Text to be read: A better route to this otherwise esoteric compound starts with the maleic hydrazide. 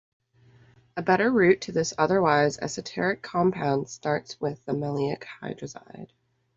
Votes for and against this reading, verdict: 2, 0, accepted